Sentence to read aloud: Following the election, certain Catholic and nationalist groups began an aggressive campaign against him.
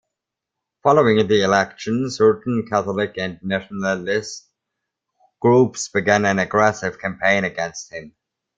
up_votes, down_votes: 2, 0